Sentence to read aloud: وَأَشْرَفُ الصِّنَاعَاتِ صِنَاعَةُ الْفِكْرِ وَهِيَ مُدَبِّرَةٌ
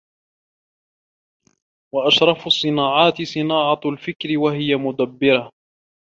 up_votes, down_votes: 0, 2